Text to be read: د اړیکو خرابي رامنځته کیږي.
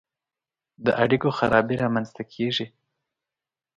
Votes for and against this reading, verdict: 2, 0, accepted